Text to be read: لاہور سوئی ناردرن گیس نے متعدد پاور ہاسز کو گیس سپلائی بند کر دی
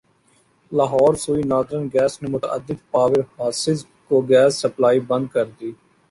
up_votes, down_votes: 2, 1